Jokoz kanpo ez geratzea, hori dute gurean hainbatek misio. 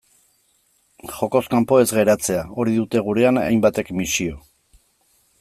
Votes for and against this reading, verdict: 2, 0, accepted